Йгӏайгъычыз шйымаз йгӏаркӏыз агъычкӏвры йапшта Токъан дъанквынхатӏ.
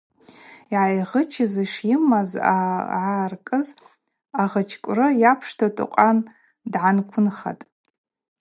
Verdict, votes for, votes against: accepted, 2, 0